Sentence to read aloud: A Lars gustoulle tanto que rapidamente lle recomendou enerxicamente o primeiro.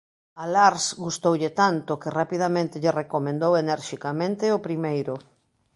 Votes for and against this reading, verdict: 2, 0, accepted